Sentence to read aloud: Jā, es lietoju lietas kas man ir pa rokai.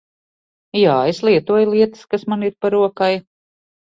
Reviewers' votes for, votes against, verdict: 2, 0, accepted